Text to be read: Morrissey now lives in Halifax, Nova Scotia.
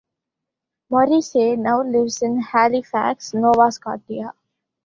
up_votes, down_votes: 2, 0